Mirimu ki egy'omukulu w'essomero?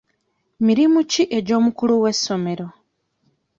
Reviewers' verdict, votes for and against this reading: accepted, 2, 0